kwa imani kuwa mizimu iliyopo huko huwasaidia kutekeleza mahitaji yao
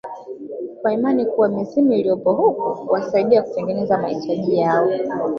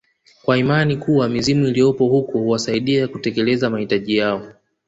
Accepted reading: second